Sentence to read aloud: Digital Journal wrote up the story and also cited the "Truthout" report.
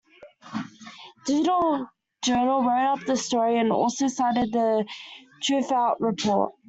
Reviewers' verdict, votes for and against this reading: accepted, 2, 0